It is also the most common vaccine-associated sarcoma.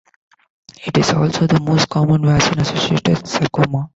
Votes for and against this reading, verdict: 2, 0, accepted